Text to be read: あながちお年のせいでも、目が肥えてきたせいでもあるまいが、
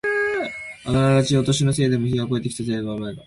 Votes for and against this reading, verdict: 0, 2, rejected